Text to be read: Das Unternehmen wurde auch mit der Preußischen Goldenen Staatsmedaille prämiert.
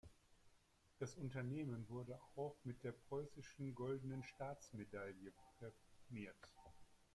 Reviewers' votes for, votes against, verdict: 2, 1, accepted